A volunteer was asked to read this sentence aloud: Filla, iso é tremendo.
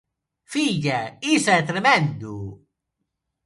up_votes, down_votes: 0, 2